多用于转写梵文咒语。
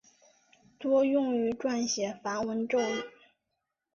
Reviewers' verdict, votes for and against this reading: accepted, 2, 0